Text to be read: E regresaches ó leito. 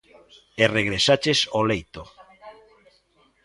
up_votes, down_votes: 0, 2